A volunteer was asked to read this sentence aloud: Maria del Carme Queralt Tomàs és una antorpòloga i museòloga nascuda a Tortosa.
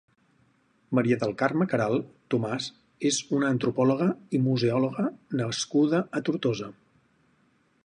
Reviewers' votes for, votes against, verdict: 8, 0, accepted